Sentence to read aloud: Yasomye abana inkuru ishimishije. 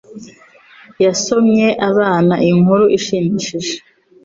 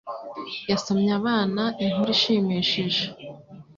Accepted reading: second